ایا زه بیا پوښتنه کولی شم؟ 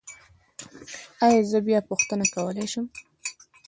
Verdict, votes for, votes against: accepted, 3, 1